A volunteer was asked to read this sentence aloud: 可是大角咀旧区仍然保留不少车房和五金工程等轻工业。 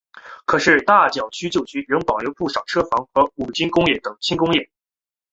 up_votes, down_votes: 2, 0